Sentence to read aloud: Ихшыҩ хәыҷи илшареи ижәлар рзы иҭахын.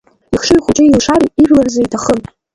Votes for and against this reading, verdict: 0, 2, rejected